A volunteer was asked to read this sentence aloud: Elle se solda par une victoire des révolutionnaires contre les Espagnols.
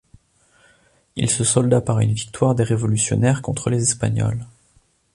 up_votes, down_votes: 1, 2